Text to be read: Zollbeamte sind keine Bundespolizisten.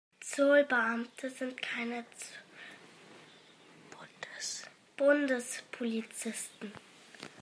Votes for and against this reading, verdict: 0, 2, rejected